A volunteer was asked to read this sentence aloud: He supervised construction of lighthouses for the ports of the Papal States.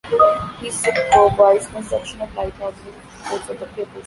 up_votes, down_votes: 0, 2